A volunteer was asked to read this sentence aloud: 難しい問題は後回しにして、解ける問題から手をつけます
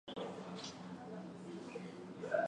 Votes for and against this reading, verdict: 0, 2, rejected